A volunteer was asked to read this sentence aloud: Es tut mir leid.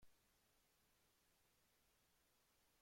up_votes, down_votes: 0, 3